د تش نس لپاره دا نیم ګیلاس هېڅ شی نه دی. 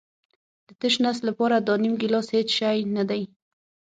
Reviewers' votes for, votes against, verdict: 6, 0, accepted